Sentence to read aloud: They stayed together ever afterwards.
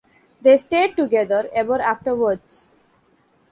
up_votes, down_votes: 2, 0